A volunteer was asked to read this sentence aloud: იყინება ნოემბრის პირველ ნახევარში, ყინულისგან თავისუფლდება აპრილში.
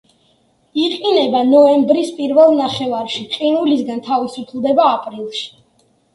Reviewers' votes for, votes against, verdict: 2, 0, accepted